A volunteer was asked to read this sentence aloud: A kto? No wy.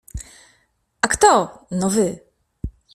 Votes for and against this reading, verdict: 2, 0, accepted